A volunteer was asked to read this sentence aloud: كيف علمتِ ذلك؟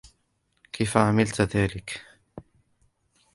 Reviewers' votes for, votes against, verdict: 0, 2, rejected